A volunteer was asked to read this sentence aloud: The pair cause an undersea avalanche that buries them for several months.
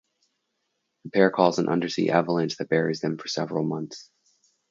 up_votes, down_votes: 2, 0